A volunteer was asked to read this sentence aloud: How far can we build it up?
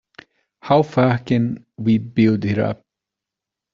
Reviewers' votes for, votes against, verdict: 2, 0, accepted